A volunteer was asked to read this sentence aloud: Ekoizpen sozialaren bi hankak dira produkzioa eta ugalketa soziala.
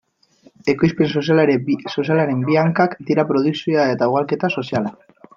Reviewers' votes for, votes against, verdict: 0, 2, rejected